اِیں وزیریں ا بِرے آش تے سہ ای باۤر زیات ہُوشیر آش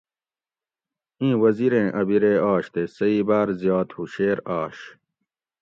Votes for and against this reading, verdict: 2, 0, accepted